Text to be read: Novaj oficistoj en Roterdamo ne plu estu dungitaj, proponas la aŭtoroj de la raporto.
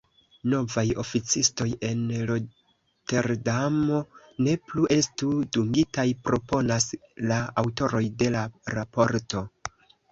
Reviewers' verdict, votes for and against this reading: rejected, 0, 2